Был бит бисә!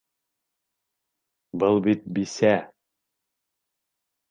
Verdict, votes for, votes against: accepted, 2, 0